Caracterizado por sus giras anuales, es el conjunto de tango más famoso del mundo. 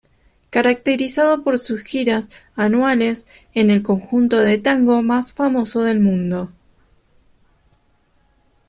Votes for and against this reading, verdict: 0, 2, rejected